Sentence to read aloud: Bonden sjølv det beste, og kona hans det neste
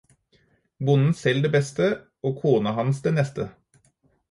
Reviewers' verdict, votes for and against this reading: rejected, 2, 2